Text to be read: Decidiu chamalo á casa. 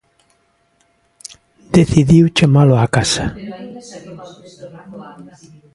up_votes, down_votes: 0, 2